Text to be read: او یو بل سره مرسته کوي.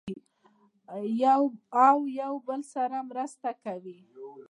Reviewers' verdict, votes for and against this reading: accepted, 2, 0